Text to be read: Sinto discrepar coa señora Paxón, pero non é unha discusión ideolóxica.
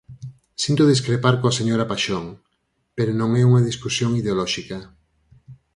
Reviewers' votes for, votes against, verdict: 4, 0, accepted